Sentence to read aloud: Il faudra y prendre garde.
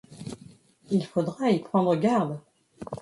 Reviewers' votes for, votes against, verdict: 0, 2, rejected